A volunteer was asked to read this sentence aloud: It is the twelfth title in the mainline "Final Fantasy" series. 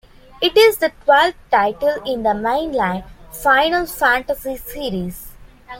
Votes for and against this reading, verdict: 2, 1, accepted